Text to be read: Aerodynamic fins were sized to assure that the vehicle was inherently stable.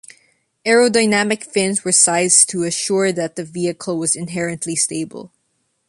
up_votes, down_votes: 2, 0